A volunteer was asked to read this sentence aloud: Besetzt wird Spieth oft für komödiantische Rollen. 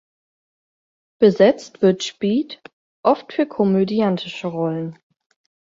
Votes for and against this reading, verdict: 4, 0, accepted